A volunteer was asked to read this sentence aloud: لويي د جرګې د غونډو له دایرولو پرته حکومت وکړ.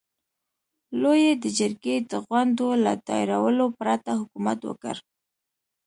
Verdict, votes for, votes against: accepted, 2, 0